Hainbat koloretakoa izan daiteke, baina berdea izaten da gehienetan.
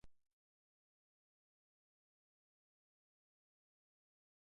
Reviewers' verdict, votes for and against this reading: rejected, 0, 2